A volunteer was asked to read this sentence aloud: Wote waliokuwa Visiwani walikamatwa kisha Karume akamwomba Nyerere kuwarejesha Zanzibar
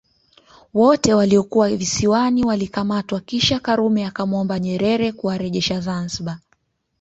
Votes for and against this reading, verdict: 2, 3, rejected